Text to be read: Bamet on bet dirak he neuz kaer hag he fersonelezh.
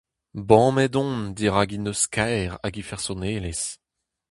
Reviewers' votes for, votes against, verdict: 0, 2, rejected